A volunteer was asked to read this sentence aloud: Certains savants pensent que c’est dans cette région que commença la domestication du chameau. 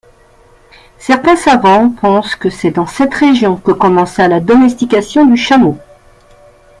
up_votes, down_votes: 2, 0